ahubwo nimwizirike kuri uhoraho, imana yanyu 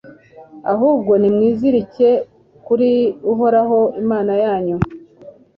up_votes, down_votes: 2, 0